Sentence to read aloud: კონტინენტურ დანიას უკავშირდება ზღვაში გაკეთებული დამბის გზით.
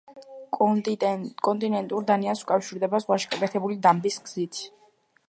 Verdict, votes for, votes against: rejected, 0, 2